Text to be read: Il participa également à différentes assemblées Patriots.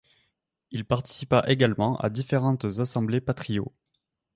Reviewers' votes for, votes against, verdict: 1, 2, rejected